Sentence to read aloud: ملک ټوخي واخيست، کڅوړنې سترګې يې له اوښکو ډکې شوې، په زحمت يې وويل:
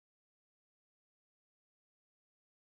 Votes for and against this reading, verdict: 0, 2, rejected